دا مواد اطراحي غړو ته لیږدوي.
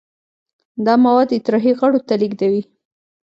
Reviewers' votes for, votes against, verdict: 2, 0, accepted